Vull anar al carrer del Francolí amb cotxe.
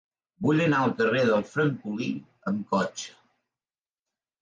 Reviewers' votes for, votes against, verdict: 3, 0, accepted